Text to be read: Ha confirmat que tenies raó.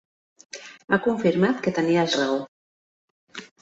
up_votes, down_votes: 2, 0